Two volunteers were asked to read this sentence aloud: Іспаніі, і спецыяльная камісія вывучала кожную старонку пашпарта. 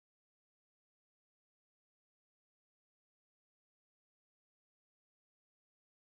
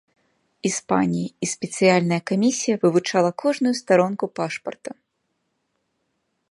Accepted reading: second